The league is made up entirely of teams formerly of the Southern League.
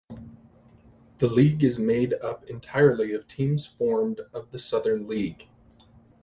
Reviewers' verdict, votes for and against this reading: rejected, 0, 2